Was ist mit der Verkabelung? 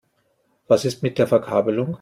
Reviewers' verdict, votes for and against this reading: accepted, 2, 0